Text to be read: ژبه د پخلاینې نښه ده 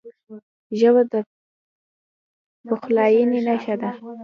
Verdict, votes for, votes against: rejected, 1, 2